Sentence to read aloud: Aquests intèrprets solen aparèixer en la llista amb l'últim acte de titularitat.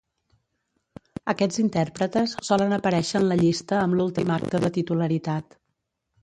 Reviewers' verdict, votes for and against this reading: rejected, 1, 2